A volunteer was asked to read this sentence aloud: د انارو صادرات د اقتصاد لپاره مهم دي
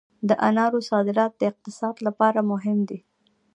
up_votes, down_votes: 1, 2